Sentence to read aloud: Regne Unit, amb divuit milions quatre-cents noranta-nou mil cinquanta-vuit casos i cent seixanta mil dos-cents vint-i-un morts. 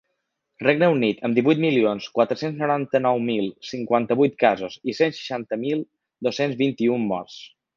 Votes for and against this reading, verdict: 3, 0, accepted